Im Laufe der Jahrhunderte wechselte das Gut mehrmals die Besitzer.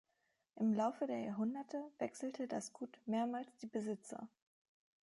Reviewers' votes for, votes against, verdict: 3, 0, accepted